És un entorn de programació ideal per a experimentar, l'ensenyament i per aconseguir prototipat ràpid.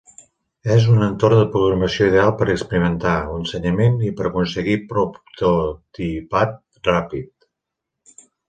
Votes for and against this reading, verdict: 0, 2, rejected